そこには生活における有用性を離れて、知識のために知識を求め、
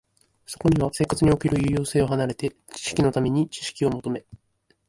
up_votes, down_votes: 2, 1